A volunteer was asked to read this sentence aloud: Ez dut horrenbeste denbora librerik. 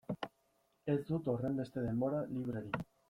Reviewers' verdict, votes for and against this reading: rejected, 1, 2